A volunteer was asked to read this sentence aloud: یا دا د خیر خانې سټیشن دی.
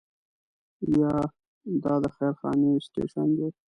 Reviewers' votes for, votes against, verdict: 1, 2, rejected